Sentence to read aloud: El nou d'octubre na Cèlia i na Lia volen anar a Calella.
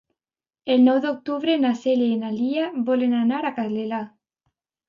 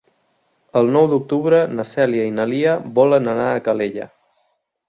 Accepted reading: second